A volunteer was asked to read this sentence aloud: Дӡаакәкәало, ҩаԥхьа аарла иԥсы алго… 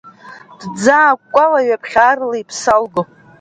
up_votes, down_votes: 2, 1